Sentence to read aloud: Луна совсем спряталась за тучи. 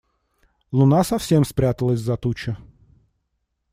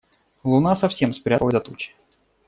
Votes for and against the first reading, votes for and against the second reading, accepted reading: 2, 0, 0, 2, first